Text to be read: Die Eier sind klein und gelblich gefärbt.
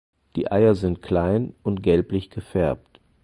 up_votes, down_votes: 4, 0